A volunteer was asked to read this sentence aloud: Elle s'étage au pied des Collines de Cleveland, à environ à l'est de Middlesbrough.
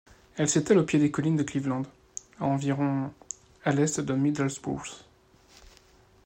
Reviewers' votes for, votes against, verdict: 0, 2, rejected